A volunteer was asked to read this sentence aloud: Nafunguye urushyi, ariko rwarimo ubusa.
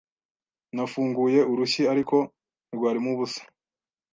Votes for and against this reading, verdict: 2, 0, accepted